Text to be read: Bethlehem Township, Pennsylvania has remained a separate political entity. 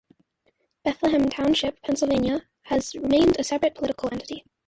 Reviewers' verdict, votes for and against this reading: accepted, 2, 0